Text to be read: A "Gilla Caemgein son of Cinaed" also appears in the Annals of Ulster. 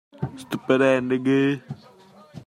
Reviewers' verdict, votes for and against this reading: rejected, 0, 2